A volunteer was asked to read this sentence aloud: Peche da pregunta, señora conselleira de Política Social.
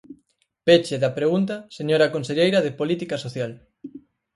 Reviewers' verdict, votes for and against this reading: accepted, 4, 0